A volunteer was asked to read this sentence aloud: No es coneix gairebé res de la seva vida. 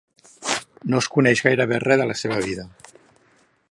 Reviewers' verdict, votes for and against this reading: accepted, 2, 1